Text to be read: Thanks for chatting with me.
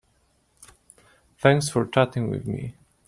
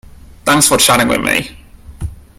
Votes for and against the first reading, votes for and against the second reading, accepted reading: 1, 2, 2, 0, second